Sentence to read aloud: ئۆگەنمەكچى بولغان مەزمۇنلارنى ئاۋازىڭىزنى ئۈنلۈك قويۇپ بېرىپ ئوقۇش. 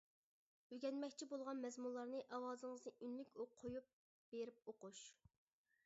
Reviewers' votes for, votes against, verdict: 0, 2, rejected